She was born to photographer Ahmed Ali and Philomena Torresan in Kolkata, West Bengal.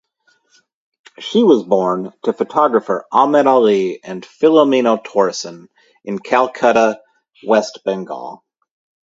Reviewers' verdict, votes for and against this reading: rejected, 2, 2